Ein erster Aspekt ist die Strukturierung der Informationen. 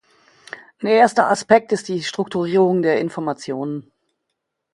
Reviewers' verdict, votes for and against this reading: rejected, 1, 2